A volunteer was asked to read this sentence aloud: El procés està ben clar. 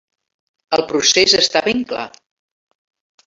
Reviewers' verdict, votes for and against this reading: accepted, 3, 0